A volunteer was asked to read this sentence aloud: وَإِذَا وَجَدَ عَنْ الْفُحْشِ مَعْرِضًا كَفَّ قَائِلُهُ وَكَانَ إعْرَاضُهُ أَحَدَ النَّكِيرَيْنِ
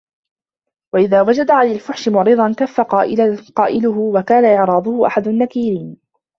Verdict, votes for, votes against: rejected, 0, 2